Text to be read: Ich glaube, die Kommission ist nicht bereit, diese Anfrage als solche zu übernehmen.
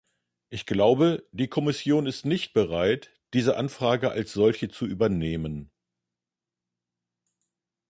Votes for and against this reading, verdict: 2, 0, accepted